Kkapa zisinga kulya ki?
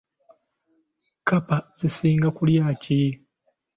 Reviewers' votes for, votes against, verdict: 2, 0, accepted